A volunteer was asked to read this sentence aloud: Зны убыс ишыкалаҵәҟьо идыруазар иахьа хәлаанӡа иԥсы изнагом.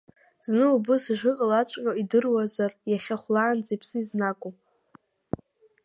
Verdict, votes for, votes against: accepted, 2, 0